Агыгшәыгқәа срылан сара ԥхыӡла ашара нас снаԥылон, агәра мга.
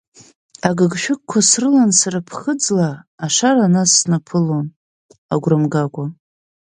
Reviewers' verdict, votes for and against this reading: rejected, 1, 2